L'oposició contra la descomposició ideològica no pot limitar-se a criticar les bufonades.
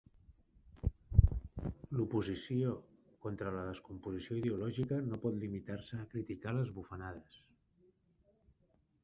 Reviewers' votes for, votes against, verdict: 3, 1, accepted